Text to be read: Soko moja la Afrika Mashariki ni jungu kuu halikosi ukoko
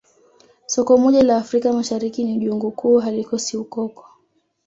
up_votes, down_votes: 2, 0